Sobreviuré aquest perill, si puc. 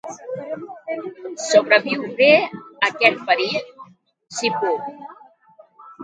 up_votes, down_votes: 1, 2